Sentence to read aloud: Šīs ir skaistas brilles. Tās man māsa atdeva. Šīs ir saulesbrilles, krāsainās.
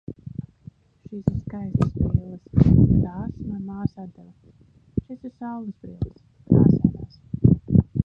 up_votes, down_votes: 2, 2